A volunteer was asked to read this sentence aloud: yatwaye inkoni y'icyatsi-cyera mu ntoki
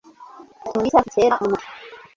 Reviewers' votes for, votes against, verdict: 1, 2, rejected